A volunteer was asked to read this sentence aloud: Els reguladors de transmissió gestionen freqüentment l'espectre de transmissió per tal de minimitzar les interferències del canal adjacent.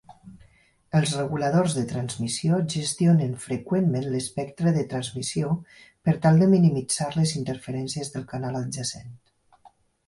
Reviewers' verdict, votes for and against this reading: accepted, 6, 0